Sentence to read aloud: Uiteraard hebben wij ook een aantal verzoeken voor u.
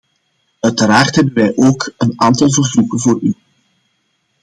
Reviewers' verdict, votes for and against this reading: accepted, 2, 0